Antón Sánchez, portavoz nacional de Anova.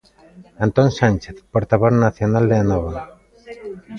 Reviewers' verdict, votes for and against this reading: accepted, 2, 0